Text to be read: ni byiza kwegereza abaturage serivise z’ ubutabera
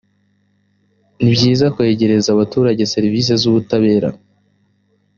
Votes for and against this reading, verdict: 2, 0, accepted